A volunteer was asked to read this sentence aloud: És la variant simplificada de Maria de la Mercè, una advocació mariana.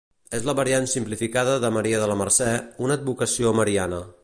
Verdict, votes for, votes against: accepted, 2, 0